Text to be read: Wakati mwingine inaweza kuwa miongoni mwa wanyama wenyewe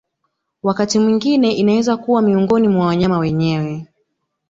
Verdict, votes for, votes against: accepted, 2, 0